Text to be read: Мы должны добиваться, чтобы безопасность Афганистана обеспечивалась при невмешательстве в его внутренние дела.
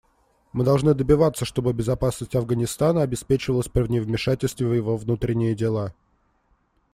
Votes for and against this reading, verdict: 1, 2, rejected